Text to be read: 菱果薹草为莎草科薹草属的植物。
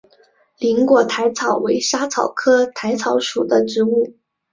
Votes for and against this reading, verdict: 3, 1, accepted